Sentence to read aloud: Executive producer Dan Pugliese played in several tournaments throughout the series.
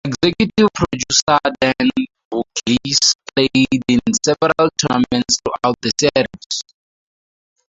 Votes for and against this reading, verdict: 0, 4, rejected